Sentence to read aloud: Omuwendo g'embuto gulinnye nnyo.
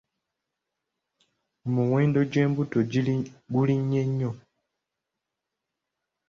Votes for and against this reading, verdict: 0, 2, rejected